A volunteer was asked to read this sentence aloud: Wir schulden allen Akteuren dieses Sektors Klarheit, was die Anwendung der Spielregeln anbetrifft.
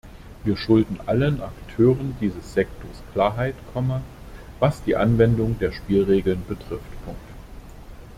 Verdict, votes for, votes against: rejected, 0, 2